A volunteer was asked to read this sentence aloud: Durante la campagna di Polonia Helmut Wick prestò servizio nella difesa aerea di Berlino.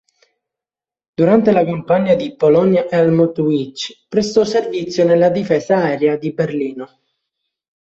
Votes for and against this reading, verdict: 1, 2, rejected